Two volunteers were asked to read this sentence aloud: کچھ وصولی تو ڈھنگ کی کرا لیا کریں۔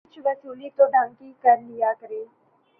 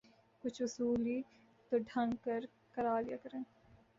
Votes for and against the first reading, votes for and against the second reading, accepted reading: 6, 1, 0, 2, first